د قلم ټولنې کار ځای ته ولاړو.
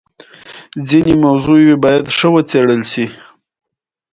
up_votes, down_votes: 2, 0